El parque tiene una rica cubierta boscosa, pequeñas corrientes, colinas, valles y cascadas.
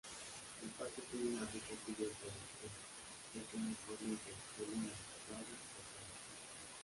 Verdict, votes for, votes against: rejected, 0, 2